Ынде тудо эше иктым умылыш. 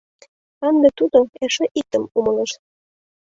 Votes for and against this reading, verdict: 2, 0, accepted